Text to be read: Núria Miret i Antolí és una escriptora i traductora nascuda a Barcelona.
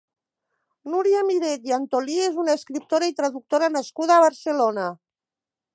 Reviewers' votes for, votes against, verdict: 4, 0, accepted